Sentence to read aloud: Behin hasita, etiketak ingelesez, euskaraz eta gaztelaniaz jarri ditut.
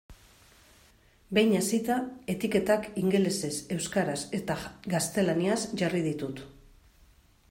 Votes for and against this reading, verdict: 1, 2, rejected